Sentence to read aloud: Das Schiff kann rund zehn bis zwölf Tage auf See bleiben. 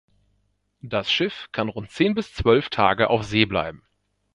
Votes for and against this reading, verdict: 2, 0, accepted